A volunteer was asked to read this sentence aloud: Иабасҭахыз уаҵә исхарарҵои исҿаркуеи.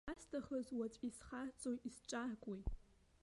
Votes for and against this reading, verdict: 1, 2, rejected